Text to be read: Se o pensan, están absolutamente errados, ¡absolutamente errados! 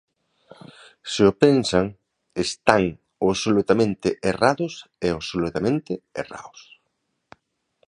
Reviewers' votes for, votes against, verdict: 0, 3, rejected